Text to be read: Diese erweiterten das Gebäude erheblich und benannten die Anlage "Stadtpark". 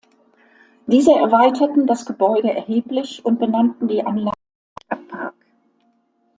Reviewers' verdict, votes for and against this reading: rejected, 0, 2